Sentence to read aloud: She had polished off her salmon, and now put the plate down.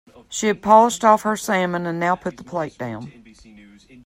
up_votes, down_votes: 1, 2